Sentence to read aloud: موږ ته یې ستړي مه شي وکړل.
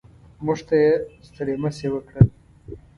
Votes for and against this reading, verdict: 2, 0, accepted